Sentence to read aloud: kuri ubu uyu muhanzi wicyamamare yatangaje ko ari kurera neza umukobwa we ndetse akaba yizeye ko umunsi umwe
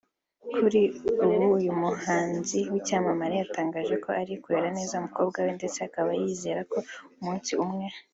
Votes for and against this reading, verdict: 2, 0, accepted